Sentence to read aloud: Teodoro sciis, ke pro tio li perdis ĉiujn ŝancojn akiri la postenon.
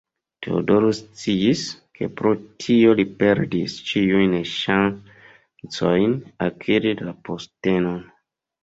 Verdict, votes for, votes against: rejected, 0, 2